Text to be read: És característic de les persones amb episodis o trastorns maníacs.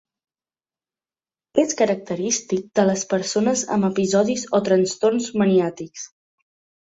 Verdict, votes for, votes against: rejected, 0, 2